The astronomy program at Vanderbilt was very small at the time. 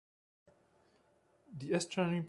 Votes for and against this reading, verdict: 0, 2, rejected